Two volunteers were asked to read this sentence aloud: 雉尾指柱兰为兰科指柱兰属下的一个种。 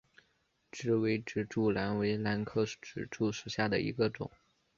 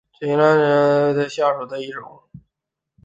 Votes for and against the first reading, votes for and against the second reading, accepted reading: 3, 1, 0, 2, first